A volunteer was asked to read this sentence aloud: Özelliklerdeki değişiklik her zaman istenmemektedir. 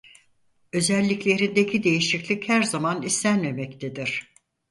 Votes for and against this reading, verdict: 2, 4, rejected